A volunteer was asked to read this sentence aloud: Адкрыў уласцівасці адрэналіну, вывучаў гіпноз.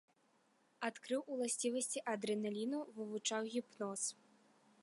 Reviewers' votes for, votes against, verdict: 0, 2, rejected